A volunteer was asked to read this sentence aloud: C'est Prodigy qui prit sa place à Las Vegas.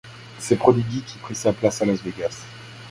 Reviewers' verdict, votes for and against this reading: accepted, 2, 1